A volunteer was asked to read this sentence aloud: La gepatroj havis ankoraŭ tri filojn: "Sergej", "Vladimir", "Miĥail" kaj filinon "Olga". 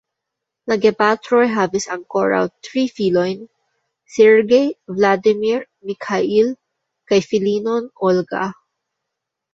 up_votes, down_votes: 1, 2